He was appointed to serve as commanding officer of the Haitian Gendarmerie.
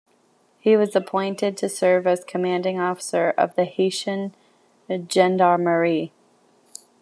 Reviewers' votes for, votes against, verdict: 1, 2, rejected